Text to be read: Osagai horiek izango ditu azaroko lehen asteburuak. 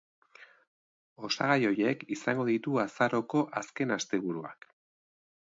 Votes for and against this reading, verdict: 0, 2, rejected